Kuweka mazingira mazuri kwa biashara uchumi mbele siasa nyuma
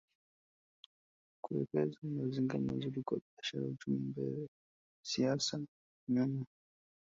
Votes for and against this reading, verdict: 1, 2, rejected